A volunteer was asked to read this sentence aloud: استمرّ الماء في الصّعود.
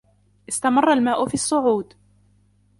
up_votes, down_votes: 2, 0